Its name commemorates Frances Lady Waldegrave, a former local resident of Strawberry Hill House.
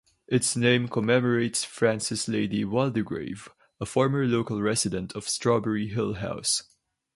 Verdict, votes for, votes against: accepted, 4, 0